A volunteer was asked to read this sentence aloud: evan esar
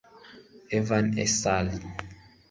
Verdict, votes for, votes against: rejected, 0, 2